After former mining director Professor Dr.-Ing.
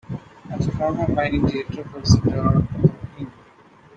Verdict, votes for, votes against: rejected, 1, 2